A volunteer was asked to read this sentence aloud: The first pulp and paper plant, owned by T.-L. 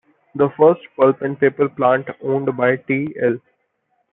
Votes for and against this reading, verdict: 2, 0, accepted